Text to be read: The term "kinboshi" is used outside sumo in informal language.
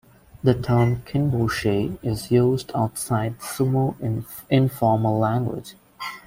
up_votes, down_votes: 2, 0